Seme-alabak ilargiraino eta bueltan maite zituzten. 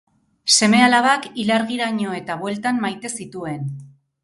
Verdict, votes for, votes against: rejected, 2, 2